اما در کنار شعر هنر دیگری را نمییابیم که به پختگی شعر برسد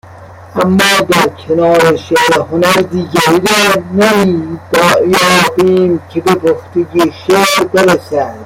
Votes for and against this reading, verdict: 0, 2, rejected